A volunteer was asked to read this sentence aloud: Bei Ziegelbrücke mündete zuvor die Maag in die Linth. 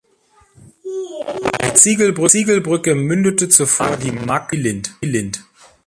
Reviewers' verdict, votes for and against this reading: rejected, 0, 2